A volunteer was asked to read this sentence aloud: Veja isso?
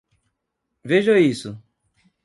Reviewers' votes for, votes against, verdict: 2, 0, accepted